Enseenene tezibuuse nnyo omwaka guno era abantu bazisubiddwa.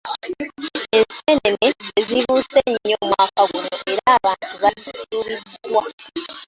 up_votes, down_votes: 0, 2